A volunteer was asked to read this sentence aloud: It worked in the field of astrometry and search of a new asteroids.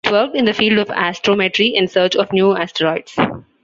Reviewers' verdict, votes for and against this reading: rejected, 0, 2